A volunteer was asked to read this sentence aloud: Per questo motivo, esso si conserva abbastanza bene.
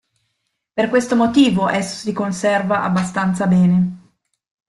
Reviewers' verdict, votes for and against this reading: rejected, 0, 2